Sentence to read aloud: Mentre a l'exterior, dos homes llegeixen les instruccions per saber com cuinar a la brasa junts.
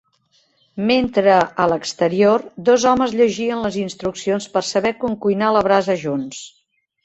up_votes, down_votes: 1, 2